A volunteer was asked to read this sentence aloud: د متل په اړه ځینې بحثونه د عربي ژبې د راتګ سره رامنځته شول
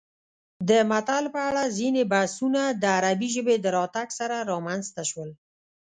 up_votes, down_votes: 0, 2